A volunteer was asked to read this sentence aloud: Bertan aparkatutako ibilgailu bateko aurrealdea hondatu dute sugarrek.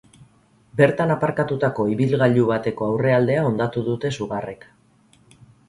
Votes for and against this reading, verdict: 4, 0, accepted